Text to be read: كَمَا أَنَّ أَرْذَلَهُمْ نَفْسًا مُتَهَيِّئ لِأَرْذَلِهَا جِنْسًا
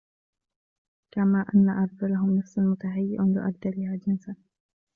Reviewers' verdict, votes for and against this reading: accepted, 2, 0